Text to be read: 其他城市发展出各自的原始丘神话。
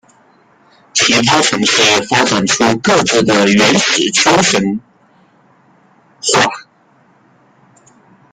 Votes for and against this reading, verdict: 0, 2, rejected